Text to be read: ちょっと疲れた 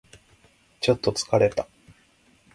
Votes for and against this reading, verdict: 2, 0, accepted